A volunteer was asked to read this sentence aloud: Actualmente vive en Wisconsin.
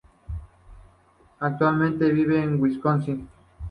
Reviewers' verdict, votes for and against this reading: accepted, 2, 0